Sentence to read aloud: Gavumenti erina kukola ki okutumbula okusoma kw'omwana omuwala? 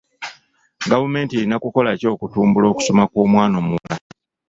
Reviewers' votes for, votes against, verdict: 2, 1, accepted